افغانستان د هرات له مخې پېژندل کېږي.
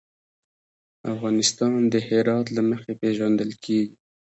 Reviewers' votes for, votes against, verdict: 1, 2, rejected